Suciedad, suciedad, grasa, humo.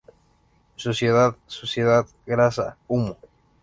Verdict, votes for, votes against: accepted, 2, 0